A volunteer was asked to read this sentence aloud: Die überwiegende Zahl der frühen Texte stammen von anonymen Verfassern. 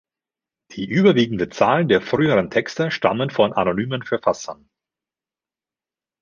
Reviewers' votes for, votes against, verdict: 1, 2, rejected